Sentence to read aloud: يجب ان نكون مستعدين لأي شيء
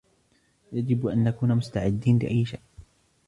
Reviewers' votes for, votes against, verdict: 0, 2, rejected